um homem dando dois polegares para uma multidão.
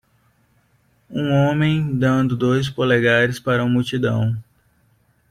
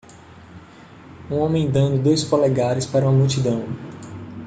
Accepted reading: second